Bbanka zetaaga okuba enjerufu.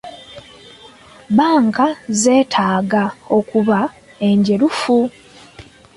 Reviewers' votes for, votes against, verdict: 2, 1, accepted